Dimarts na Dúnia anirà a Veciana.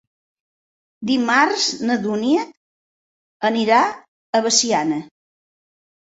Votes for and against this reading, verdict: 4, 0, accepted